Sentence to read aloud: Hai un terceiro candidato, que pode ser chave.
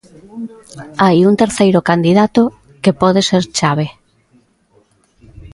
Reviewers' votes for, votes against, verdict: 2, 0, accepted